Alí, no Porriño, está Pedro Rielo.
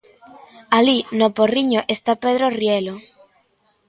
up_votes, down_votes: 2, 0